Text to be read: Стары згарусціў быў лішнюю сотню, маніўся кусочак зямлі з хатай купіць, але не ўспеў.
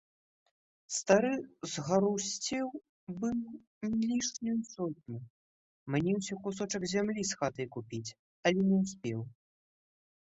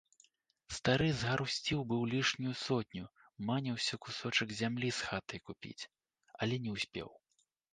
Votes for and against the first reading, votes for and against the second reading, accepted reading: 3, 4, 2, 0, second